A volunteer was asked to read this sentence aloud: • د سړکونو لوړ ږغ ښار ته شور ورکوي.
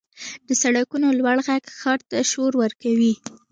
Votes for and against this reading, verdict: 2, 0, accepted